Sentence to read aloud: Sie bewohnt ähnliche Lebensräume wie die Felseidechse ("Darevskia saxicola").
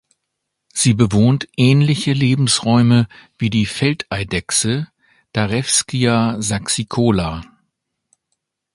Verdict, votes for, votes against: rejected, 1, 2